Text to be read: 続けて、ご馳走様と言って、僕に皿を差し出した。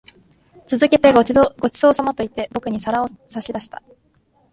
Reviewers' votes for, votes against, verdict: 0, 2, rejected